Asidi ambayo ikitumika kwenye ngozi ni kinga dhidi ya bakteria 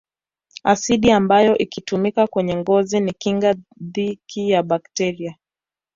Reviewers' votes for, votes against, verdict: 0, 2, rejected